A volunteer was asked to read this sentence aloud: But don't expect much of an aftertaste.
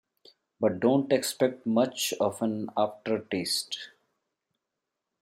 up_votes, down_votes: 2, 0